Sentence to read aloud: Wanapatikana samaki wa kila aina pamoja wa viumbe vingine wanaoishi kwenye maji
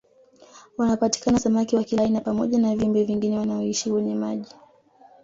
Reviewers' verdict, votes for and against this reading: rejected, 1, 2